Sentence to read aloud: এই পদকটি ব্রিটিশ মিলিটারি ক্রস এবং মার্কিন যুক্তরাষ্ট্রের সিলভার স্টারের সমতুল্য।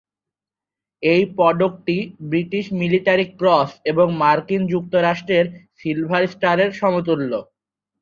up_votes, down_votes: 2, 2